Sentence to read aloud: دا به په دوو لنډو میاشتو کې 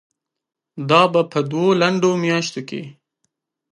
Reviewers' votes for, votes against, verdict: 5, 0, accepted